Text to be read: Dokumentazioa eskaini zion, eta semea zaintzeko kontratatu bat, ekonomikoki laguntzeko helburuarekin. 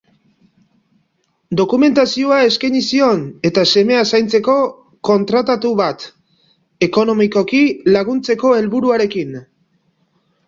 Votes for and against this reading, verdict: 2, 0, accepted